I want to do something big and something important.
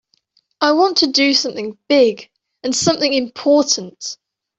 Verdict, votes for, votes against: accepted, 2, 0